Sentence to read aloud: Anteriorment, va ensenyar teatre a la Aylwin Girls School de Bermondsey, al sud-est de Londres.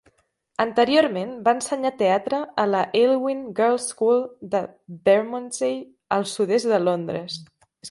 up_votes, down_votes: 3, 0